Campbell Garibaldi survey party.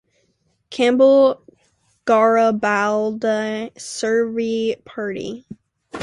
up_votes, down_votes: 0, 2